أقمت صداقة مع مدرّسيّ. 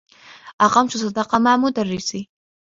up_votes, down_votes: 1, 2